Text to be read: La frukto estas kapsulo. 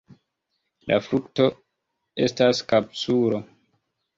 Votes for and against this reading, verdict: 2, 1, accepted